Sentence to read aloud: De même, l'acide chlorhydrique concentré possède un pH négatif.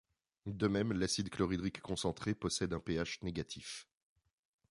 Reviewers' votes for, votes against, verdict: 2, 0, accepted